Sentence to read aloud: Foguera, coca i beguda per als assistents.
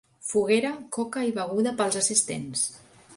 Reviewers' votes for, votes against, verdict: 1, 2, rejected